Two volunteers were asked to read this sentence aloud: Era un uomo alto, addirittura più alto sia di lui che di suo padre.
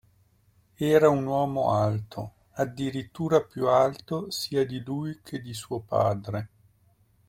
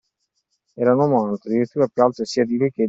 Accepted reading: first